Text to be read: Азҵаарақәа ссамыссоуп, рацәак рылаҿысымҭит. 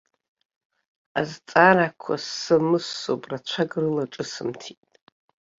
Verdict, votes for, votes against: accepted, 2, 0